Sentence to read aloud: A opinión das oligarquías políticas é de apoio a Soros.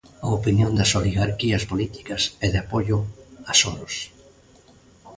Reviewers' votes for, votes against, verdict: 2, 0, accepted